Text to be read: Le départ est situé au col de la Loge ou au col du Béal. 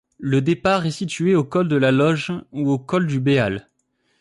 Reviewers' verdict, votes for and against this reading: accepted, 2, 0